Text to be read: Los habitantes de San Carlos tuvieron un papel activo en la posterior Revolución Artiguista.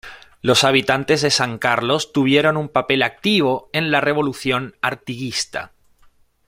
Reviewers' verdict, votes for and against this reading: rejected, 1, 2